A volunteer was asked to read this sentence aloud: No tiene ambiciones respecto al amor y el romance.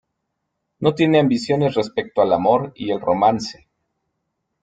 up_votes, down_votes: 1, 2